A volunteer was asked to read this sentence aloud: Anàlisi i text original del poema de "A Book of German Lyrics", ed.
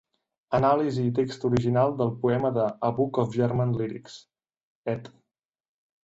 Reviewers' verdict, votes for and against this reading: rejected, 1, 2